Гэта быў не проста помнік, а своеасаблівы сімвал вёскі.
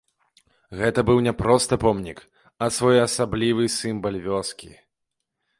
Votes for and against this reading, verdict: 0, 2, rejected